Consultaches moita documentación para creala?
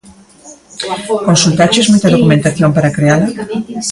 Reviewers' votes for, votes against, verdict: 2, 1, accepted